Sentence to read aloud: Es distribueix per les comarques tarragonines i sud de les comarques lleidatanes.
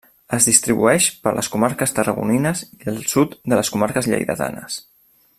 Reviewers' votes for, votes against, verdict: 0, 2, rejected